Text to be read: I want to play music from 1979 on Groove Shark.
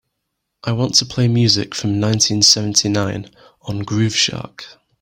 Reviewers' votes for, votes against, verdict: 0, 2, rejected